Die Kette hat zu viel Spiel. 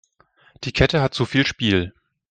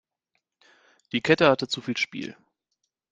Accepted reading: first